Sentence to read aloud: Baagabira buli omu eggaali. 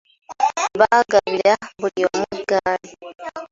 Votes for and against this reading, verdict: 2, 1, accepted